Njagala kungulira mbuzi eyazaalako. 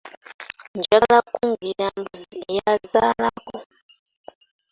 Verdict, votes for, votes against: rejected, 0, 2